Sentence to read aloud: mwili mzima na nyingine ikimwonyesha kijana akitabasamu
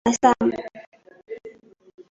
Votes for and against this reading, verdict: 0, 2, rejected